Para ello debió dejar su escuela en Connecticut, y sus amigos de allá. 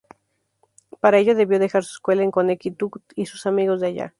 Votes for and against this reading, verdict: 0, 2, rejected